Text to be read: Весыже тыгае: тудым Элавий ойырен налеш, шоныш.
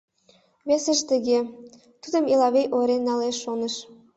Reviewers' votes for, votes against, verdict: 2, 0, accepted